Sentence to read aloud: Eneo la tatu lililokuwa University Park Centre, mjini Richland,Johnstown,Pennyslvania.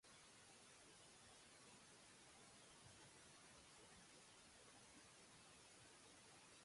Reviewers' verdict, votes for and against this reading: rejected, 0, 2